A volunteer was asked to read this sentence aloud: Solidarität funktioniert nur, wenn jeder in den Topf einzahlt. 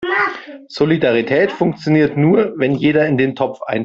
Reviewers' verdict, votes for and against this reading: rejected, 0, 3